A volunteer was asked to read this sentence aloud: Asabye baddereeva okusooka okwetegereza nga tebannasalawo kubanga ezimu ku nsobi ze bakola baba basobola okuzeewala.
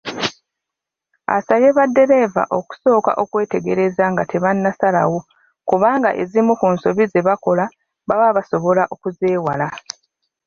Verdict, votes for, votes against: rejected, 0, 2